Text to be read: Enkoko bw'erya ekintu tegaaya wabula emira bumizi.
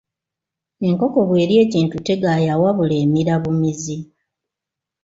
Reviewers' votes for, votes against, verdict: 2, 1, accepted